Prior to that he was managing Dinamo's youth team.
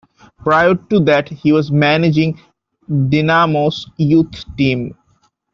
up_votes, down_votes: 0, 2